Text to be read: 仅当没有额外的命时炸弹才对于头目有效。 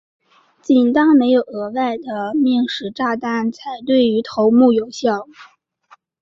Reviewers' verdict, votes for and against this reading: rejected, 1, 2